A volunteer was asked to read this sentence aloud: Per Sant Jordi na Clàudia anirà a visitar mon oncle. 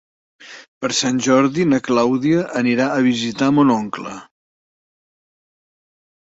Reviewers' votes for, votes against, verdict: 3, 0, accepted